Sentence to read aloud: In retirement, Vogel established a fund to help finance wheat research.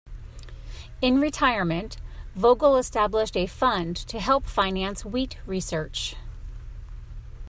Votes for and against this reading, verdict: 2, 0, accepted